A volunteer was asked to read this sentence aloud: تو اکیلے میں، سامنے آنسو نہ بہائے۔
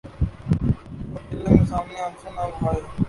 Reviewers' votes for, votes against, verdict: 0, 2, rejected